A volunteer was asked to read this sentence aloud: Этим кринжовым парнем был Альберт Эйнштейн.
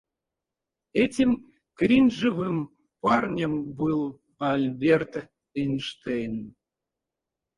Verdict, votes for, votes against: rejected, 2, 2